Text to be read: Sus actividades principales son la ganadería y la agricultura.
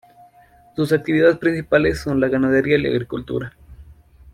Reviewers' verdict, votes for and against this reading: accepted, 3, 0